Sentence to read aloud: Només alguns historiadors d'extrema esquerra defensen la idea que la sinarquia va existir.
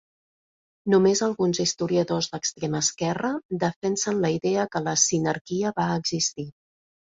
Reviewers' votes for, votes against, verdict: 2, 0, accepted